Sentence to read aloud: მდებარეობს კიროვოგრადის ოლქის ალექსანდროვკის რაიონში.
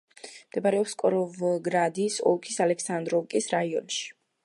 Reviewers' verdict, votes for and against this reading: rejected, 1, 3